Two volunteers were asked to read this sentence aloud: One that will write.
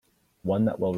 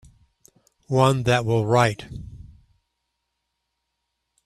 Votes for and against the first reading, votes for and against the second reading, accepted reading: 0, 2, 3, 0, second